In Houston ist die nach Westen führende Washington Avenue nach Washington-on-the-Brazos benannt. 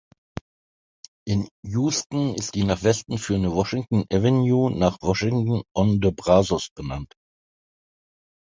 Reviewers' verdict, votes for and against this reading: accepted, 2, 0